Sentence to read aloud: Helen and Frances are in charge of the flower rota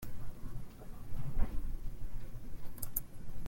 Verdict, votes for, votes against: rejected, 0, 2